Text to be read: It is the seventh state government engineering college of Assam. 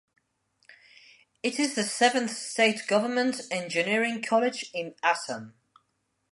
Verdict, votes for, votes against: rejected, 0, 2